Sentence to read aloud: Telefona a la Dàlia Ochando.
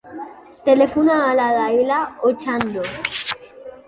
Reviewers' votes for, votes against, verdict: 2, 3, rejected